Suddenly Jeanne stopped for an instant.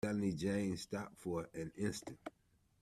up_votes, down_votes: 1, 2